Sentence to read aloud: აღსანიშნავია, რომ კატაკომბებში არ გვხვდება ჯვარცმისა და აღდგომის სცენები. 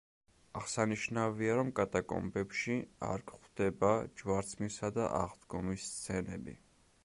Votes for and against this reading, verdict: 2, 0, accepted